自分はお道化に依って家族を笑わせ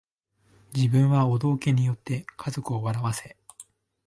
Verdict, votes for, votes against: accepted, 2, 1